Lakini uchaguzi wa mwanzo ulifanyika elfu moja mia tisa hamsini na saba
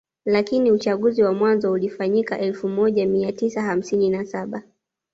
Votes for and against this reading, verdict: 2, 0, accepted